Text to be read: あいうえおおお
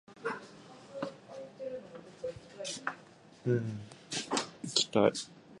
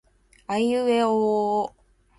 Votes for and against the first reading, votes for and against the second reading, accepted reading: 0, 2, 2, 0, second